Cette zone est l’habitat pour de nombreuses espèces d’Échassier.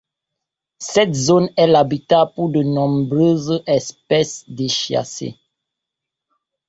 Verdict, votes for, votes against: accepted, 2, 0